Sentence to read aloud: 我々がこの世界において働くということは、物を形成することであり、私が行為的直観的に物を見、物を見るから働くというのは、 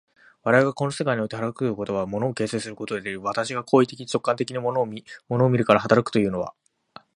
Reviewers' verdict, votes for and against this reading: rejected, 0, 2